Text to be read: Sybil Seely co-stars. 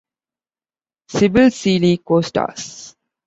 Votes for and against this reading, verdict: 2, 0, accepted